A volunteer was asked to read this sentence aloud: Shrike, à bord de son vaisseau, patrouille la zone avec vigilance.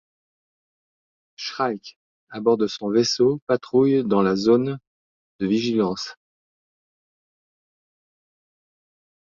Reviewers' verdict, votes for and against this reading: rejected, 0, 2